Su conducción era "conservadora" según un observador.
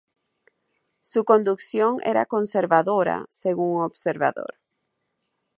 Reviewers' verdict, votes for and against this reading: rejected, 2, 2